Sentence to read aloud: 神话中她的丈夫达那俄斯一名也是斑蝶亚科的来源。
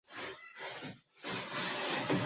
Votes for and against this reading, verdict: 0, 3, rejected